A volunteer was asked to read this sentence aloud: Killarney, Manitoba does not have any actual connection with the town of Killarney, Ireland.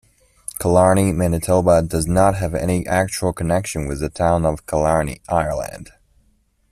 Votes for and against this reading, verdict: 2, 0, accepted